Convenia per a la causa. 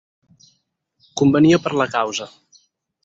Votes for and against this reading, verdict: 2, 4, rejected